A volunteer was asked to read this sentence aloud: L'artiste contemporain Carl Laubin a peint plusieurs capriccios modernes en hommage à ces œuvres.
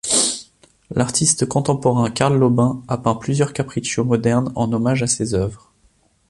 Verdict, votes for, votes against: accepted, 2, 0